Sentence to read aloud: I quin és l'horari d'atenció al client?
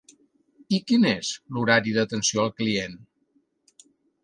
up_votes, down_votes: 3, 0